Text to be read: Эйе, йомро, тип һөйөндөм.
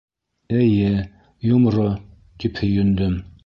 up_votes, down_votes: 2, 0